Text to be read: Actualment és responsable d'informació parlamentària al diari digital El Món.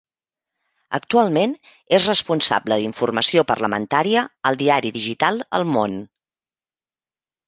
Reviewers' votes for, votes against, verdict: 2, 0, accepted